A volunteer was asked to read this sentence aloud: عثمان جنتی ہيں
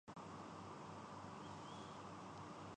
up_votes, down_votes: 1, 2